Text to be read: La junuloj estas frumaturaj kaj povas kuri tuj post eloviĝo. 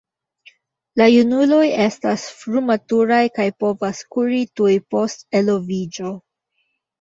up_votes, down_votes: 2, 1